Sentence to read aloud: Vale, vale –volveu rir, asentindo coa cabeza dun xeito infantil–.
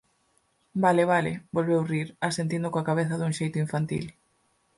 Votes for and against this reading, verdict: 4, 0, accepted